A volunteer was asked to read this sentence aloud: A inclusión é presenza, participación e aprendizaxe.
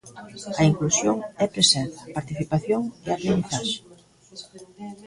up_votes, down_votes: 1, 2